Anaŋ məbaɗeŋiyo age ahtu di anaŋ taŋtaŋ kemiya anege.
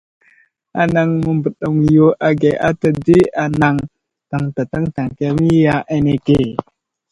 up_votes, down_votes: 1, 2